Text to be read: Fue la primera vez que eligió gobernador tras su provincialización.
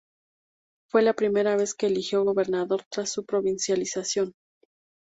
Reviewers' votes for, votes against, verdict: 4, 0, accepted